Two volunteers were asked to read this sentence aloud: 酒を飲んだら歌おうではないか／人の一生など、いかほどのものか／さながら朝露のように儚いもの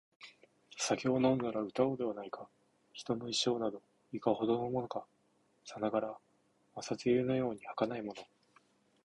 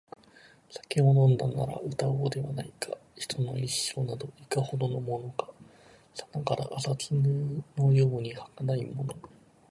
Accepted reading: first